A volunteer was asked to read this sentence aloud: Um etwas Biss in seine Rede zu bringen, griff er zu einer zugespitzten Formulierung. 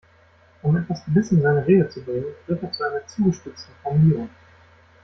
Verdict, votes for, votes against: rejected, 0, 2